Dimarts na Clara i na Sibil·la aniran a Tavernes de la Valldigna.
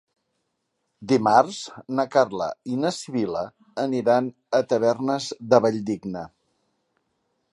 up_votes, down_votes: 1, 3